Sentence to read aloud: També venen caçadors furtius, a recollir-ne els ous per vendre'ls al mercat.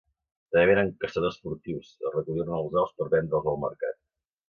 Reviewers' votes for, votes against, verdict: 2, 1, accepted